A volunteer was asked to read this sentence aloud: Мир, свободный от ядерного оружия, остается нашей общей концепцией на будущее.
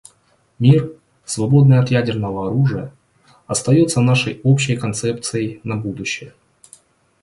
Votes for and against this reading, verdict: 2, 0, accepted